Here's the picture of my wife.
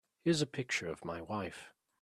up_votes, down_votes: 3, 1